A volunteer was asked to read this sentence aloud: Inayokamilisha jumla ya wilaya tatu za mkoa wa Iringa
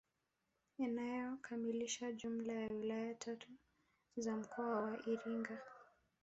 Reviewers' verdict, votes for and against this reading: accepted, 2, 0